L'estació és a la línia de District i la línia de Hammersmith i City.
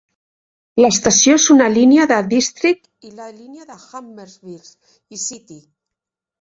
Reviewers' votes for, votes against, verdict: 1, 2, rejected